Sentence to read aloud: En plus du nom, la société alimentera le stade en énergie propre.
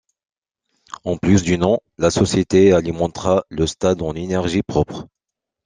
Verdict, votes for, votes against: accepted, 2, 0